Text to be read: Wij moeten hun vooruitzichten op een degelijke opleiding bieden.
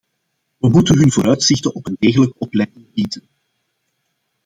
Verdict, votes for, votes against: rejected, 0, 2